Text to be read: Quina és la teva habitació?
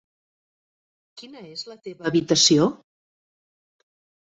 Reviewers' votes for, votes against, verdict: 3, 0, accepted